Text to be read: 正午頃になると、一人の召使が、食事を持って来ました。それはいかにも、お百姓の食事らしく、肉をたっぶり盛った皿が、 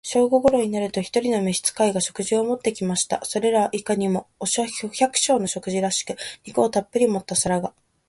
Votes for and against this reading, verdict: 0, 4, rejected